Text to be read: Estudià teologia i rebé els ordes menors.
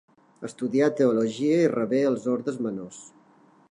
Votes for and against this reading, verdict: 0, 2, rejected